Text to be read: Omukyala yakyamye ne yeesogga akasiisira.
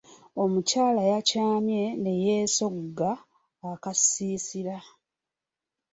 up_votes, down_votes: 2, 0